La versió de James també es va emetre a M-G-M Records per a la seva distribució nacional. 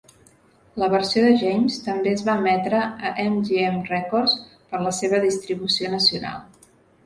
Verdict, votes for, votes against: accepted, 2, 0